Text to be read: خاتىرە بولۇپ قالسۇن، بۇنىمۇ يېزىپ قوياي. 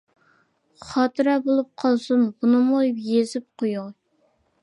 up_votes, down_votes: 2, 1